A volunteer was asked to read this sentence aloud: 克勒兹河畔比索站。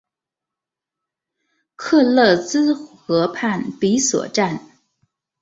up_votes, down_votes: 2, 0